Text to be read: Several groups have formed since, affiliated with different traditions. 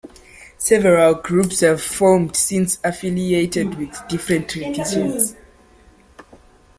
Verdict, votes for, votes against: accepted, 2, 0